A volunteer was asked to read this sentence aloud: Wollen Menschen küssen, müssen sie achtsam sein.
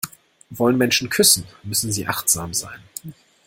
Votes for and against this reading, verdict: 2, 0, accepted